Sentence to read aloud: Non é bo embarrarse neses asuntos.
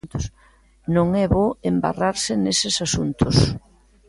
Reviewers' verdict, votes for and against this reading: accepted, 2, 0